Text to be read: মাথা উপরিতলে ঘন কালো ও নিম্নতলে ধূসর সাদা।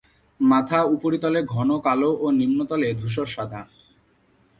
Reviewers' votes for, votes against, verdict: 5, 0, accepted